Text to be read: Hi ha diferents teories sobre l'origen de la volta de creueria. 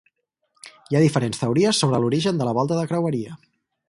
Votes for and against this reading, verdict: 4, 0, accepted